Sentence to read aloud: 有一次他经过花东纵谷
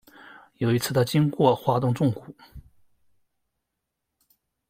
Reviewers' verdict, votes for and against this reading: rejected, 0, 2